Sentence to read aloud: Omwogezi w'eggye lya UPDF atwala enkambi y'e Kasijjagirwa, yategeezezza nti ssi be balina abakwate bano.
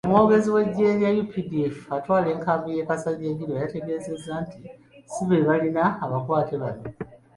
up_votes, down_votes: 1, 2